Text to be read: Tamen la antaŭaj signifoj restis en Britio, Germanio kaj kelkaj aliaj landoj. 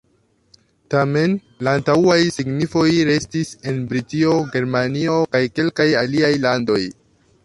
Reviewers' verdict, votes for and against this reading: rejected, 1, 2